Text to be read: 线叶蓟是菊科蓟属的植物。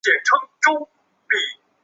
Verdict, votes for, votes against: rejected, 0, 2